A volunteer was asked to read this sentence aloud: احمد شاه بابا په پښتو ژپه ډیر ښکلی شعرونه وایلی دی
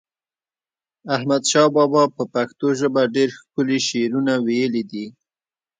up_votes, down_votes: 2, 0